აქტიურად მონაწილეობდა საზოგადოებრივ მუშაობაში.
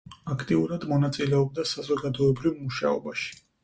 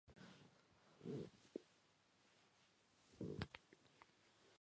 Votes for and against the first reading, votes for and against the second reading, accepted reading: 4, 0, 1, 2, first